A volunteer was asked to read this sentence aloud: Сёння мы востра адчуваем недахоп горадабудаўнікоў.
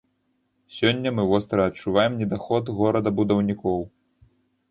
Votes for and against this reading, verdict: 0, 2, rejected